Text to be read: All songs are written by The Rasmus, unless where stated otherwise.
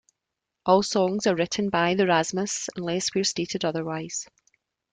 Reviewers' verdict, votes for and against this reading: accepted, 2, 0